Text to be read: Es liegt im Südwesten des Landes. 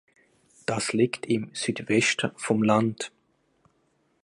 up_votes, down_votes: 0, 2